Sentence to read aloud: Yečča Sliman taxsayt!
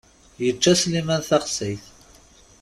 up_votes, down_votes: 2, 0